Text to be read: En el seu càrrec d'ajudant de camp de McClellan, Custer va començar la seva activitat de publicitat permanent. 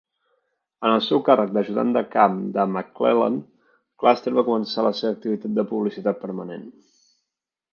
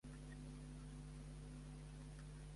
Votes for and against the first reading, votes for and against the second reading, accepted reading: 2, 1, 0, 2, first